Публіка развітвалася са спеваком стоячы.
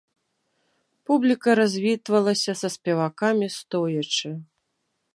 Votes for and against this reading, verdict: 0, 2, rejected